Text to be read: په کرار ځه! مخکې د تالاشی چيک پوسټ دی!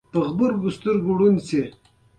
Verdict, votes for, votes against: rejected, 0, 2